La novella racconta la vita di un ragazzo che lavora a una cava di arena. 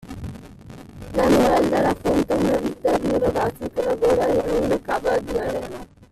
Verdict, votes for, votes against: rejected, 1, 2